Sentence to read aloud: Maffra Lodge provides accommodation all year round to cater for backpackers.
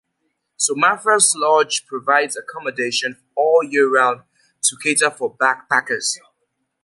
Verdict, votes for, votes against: accepted, 2, 0